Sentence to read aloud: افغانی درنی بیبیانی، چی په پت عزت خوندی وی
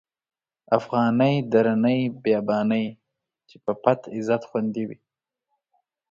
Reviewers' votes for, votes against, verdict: 2, 1, accepted